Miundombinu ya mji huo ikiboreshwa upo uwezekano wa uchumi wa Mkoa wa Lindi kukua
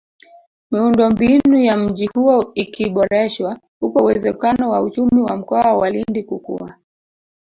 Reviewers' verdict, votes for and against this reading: accepted, 2, 1